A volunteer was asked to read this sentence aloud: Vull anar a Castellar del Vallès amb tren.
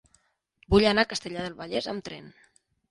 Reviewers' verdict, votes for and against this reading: accepted, 5, 0